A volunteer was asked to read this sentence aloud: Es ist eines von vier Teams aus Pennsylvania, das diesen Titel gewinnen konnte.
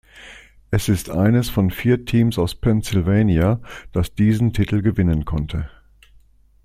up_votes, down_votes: 2, 0